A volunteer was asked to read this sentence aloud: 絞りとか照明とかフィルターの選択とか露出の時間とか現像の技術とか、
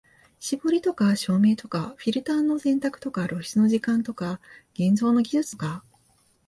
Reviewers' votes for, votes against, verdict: 2, 0, accepted